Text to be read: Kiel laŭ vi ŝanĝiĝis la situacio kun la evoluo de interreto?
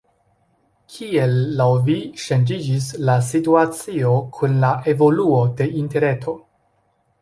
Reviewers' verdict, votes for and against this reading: accepted, 2, 0